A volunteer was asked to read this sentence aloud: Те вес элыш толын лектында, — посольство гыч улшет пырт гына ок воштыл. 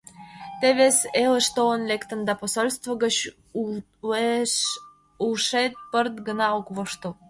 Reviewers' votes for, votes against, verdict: 0, 2, rejected